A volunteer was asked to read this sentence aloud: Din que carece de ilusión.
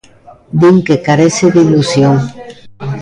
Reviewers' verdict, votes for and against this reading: accepted, 2, 0